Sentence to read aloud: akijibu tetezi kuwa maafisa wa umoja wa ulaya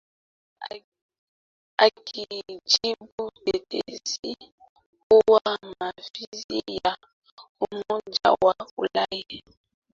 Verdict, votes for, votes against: rejected, 0, 2